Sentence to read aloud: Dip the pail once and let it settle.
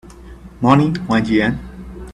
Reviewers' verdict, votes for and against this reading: rejected, 0, 2